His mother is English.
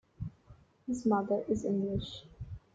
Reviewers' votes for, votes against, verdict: 2, 1, accepted